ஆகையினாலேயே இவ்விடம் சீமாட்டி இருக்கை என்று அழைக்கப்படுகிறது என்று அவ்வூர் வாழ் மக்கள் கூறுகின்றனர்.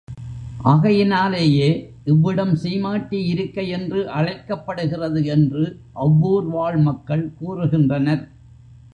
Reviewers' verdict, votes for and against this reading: accepted, 3, 0